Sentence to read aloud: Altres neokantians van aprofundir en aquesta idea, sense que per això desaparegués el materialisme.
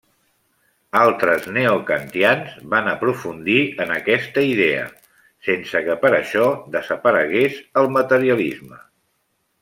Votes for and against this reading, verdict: 2, 0, accepted